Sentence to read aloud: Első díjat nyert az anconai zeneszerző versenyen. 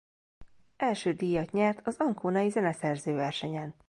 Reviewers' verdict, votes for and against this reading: accepted, 2, 0